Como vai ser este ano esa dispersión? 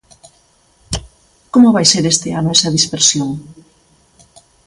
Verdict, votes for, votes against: accepted, 2, 0